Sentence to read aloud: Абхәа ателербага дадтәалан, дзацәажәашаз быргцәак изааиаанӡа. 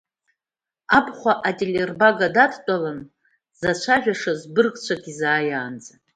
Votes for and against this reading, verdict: 2, 0, accepted